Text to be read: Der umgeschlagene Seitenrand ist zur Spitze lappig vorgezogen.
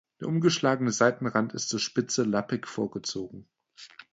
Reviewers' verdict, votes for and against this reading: accepted, 2, 0